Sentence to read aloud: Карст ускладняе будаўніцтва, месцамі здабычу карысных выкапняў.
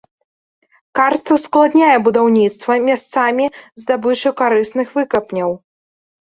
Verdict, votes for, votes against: rejected, 0, 2